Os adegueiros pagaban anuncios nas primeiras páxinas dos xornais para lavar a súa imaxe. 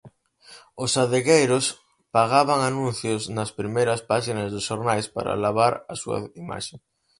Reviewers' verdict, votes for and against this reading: rejected, 2, 4